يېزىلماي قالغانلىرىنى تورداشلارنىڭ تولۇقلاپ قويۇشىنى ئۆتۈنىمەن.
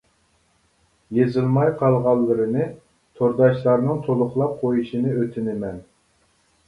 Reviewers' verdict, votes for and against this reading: accepted, 2, 0